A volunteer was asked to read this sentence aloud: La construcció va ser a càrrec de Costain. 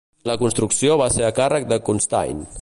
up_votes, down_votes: 1, 2